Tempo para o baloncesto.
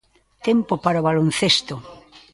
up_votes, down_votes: 3, 0